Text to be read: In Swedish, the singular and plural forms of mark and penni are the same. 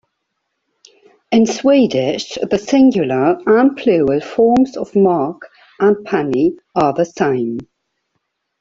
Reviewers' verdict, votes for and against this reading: accepted, 2, 1